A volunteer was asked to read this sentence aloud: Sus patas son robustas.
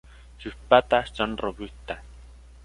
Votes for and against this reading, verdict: 2, 1, accepted